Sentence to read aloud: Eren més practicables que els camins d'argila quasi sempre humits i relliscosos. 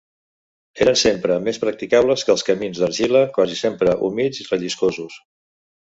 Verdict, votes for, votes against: rejected, 1, 2